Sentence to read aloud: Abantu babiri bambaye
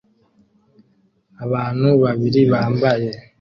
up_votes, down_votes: 2, 0